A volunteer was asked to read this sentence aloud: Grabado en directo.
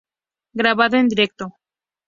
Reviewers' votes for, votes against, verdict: 2, 0, accepted